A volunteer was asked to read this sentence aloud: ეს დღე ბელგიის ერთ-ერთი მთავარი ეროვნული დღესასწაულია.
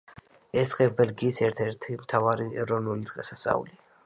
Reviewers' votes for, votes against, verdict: 2, 0, accepted